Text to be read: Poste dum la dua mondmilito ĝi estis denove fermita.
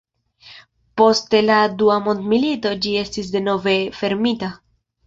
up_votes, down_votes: 1, 2